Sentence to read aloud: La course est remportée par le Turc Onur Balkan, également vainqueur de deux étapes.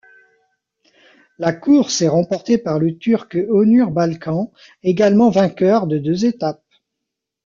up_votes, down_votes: 2, 0